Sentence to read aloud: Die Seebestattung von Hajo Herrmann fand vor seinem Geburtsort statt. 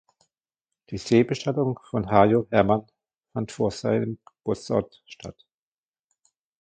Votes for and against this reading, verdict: 1, 2, rejected